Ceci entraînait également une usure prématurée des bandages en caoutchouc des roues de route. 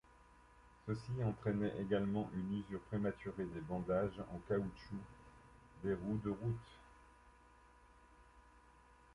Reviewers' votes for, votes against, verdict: 1, 2, rejected